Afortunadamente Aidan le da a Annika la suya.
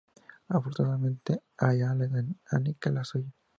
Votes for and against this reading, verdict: 2, 0, accepted